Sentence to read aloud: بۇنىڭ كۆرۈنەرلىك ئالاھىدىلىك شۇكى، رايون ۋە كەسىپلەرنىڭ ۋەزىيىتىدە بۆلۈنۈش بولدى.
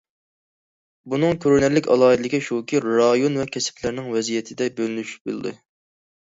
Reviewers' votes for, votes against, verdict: 2, 0, accepted